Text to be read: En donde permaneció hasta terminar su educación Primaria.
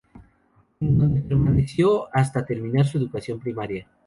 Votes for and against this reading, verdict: 2, 0, accepted